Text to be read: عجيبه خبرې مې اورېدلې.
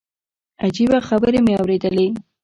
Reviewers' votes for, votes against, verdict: 2, 1, accepted